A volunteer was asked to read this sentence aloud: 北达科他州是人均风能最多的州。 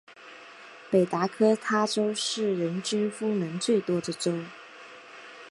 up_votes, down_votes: 2, 0